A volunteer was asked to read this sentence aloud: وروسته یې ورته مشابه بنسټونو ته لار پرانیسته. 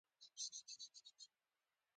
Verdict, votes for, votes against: rejected, 0, 2